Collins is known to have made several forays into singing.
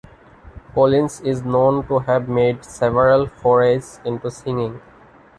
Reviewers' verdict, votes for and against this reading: accepted, 2, 0